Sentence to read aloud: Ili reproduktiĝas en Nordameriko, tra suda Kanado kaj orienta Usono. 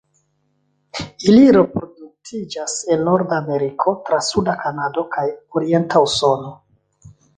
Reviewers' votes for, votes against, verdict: 2, 0, accepted